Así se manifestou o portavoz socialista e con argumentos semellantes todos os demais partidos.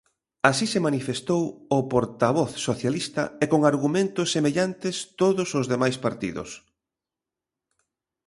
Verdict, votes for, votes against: accepted, 2, 0